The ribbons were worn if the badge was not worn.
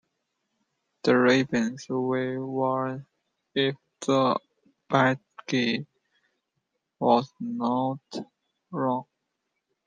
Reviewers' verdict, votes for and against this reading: rejected, 0, 2